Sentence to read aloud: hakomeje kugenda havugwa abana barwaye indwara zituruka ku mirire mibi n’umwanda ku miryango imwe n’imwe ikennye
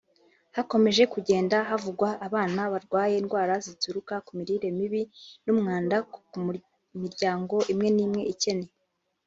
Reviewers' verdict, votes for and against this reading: rejected, 0, 2